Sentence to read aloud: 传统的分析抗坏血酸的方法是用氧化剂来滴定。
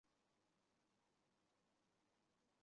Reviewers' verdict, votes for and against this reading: rejected, 1, 3